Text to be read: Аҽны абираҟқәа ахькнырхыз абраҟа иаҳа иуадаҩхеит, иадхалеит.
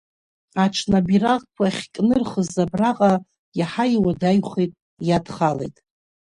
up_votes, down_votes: 7, 4